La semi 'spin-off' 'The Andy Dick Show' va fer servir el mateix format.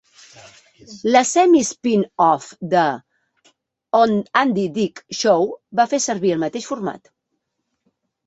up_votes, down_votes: 0, 3